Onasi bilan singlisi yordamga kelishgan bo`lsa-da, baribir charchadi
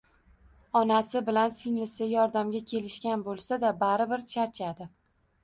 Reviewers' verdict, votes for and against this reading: accepted, 2, 0